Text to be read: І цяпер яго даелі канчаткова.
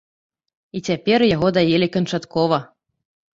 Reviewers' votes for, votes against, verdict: 2, 0, accepted